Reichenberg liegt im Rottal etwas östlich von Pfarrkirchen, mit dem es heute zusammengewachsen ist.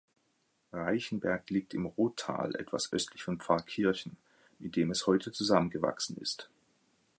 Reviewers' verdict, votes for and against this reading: accepted, 2, 0